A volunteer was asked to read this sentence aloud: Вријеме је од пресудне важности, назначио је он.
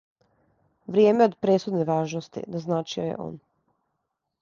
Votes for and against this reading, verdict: 2, 0, accepted